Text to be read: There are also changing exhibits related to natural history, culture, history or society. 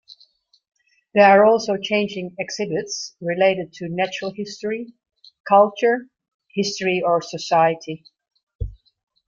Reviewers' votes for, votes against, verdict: 2, 0, accepted